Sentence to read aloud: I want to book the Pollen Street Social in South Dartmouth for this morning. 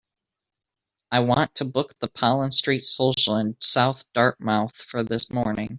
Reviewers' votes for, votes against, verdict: 2, 0, accepted